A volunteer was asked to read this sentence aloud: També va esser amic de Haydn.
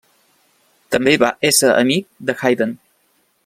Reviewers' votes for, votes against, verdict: 2, 0, accepted